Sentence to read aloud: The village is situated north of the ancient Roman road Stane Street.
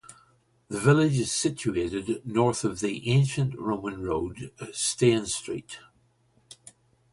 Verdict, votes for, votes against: accepted, 2, 0